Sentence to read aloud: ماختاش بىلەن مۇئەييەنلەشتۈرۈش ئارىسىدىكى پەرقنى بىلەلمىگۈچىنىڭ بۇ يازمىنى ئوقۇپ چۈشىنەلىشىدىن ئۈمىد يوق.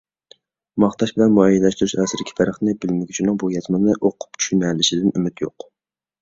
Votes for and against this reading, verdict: 1, 2, rejected